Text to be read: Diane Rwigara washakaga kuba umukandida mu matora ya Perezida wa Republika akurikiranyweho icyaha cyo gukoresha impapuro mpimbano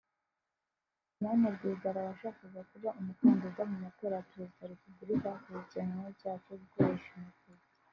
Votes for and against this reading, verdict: 1, 2, rejected